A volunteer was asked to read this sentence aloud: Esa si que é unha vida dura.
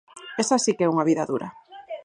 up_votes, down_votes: 2, 2